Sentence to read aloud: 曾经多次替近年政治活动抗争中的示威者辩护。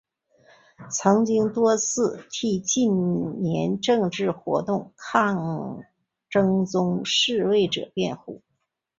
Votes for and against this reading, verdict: 2, 3, rejected